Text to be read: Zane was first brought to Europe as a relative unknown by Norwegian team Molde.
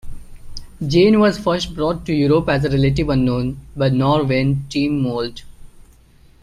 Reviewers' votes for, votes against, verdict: 2, 1, accepted